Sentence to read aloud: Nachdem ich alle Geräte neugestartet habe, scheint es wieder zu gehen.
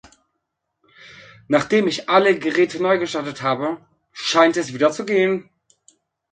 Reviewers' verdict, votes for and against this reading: accepted, 2, 1